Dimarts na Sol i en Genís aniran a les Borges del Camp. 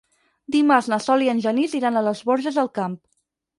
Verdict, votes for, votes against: rejected, 4, 6